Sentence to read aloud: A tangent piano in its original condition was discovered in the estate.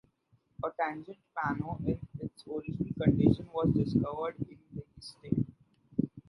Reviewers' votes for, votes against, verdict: 1, 2, rejected